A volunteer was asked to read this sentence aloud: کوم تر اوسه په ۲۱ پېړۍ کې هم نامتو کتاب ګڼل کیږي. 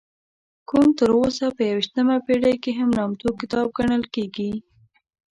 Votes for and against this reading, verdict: 0, 2, rejected